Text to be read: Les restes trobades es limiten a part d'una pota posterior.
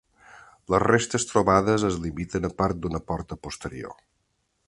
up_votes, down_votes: 2, 1